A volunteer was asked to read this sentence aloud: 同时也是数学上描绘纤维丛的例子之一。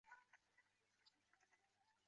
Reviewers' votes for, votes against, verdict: 0, 2, rejected